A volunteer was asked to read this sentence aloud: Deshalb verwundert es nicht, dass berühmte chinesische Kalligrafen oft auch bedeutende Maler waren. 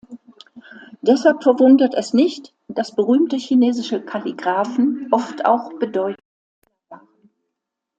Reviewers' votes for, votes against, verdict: 0, 2, rejected